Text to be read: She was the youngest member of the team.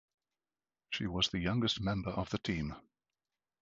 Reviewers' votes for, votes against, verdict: 2, 0, accepted